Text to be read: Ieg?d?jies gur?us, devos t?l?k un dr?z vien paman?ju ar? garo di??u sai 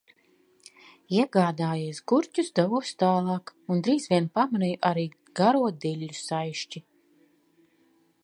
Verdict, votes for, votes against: rejected, 0, 2